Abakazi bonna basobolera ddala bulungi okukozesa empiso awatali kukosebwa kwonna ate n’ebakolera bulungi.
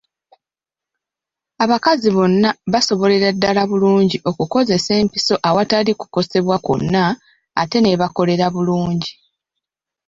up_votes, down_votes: 2, 0